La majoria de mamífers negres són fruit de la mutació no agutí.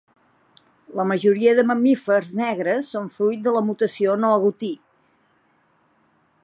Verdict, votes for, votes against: accepted, 2, 0